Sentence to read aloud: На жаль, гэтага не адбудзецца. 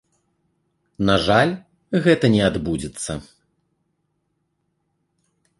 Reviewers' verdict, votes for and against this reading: rejected, 0, 2